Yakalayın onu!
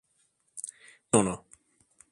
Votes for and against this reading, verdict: 0, 2, rejected